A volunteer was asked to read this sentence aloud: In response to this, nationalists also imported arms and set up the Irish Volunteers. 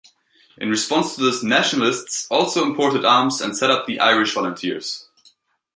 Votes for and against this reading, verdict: 2, 0, accepted